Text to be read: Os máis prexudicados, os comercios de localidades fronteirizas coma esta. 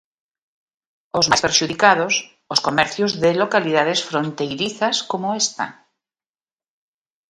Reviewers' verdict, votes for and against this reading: rejected, 0, 2